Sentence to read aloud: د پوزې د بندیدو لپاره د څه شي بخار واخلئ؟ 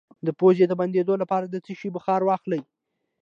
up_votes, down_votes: 2, 0